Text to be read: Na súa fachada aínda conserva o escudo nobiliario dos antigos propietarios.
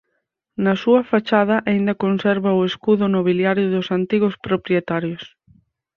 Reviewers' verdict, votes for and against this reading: rejected, 2, 4